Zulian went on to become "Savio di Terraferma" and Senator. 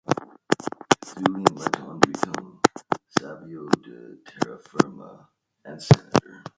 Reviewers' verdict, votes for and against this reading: rejected, 0, 2